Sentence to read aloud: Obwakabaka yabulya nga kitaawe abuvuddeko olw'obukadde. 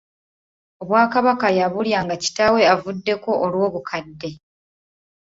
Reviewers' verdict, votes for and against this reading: accepted, 2, 0